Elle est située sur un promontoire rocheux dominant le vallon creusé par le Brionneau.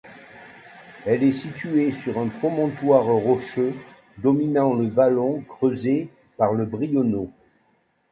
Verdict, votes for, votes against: rejected, 1, 2